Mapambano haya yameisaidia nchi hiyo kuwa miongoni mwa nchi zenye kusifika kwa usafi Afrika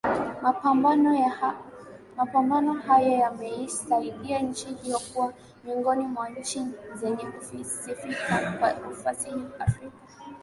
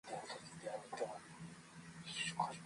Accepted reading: first